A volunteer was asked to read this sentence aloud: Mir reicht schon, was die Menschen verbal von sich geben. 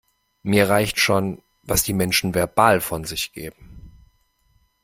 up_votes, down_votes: 2, 0